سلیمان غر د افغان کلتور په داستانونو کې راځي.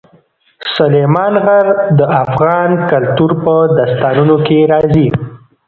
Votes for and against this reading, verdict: 1, 2, rejected